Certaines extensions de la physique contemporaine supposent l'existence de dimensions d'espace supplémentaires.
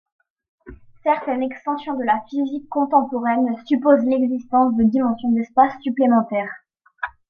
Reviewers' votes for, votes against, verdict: 1, 2, rejected